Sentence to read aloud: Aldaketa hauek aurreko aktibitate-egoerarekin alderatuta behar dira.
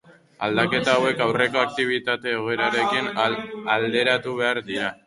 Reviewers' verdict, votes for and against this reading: rejected, 0, 2